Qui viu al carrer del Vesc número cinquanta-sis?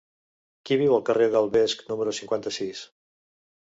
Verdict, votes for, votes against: accepted, 3, 0